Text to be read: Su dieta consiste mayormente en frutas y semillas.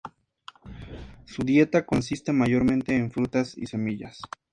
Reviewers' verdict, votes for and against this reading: accepted, 2, 0